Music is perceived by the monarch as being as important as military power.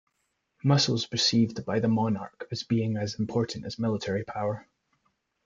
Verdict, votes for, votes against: rejected, 1, 2